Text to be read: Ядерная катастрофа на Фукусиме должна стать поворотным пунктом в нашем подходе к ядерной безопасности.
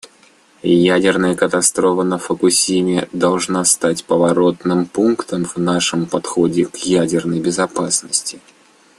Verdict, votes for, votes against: rejected, 1, 2